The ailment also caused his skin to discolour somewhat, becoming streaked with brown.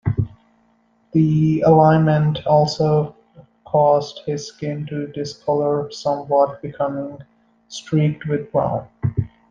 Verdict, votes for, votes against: rejected, 1, 2